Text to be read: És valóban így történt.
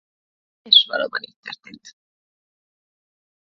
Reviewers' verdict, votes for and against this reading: rejected, 1, 2